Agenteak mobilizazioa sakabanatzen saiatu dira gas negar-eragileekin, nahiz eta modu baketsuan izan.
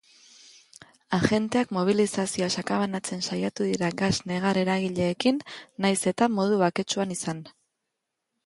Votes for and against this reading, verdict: 2, 0, accepted